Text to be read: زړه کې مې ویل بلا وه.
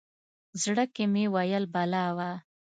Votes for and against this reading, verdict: 2, 0, accepted